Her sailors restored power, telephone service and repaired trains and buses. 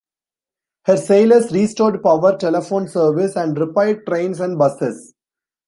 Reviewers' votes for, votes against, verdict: 2, 0, accepted